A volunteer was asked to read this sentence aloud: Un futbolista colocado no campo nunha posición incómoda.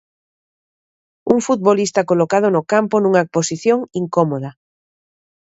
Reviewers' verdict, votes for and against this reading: accepted, 2, 0